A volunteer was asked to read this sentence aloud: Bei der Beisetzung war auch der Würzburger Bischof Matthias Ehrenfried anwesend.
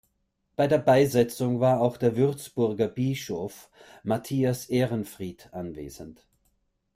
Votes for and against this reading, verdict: 1, 2, rejected